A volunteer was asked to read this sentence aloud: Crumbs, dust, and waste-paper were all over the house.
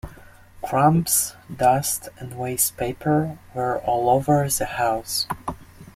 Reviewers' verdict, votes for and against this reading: accepted, 2, 0